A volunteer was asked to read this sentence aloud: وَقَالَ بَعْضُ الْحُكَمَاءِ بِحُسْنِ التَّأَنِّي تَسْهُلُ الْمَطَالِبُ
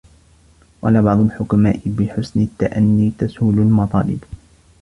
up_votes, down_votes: 2, 1